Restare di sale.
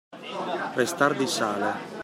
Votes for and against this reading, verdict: 2, 0, accepted